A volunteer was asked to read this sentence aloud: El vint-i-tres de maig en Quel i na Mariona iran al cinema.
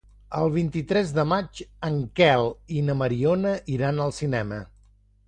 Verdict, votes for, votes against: accepted, 2, 0